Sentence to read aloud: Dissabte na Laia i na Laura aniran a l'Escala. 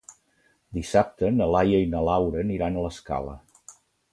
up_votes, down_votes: 2, 0